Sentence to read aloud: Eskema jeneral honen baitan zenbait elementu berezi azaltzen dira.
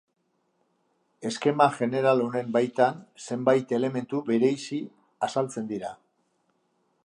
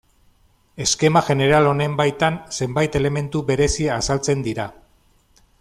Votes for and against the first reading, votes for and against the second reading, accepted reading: 0, 3, 2, 1, second